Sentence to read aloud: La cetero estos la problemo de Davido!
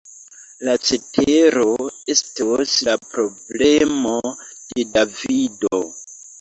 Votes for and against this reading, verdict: 0, 2, rejected